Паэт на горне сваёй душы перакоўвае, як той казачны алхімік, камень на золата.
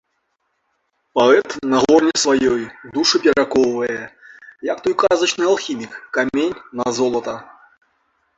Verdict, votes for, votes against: rejected, 1, 2